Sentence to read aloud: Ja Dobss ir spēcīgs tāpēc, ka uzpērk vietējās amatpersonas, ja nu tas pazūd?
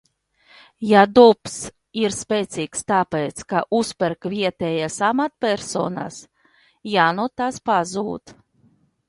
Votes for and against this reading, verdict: 1, 2, rejected